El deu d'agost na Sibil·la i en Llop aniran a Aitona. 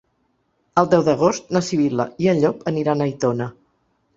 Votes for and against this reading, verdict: 2, 0, accepted